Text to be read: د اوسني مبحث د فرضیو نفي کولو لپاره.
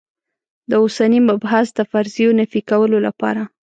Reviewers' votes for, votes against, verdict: 2, 0, accepted